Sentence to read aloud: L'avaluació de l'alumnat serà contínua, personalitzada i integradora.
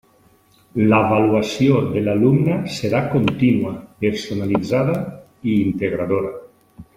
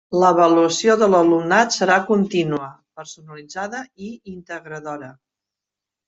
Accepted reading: second